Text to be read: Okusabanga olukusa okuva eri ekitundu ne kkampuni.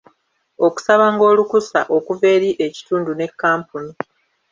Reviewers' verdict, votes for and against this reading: rejected, 1, 2